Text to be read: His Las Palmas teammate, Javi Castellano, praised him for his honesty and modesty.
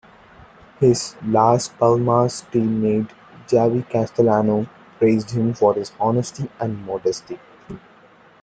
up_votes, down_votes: 2, 1